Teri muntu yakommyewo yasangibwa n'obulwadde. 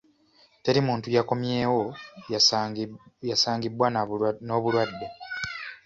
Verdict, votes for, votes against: rejected, 1, 3